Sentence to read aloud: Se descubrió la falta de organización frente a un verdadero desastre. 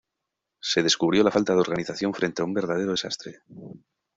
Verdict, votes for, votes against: accepted, 2, 0